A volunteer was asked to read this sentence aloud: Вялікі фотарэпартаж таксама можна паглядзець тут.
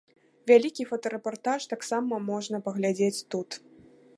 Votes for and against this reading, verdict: 2, 0, accepted